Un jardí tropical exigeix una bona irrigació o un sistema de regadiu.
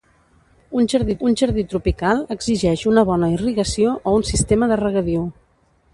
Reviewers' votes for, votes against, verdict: 1, 2, rejected